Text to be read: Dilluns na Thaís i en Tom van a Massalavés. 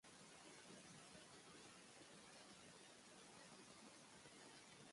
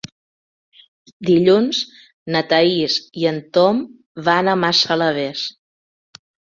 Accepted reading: second